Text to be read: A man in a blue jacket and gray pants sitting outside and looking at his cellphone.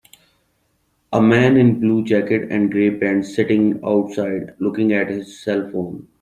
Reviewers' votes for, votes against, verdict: 1, 3, rejected